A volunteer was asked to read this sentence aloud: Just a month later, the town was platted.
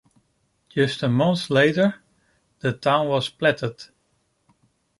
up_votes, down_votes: 1, 2